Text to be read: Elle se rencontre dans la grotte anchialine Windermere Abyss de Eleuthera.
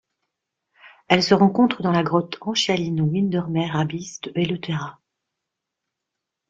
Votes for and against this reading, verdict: 1, 2, rejected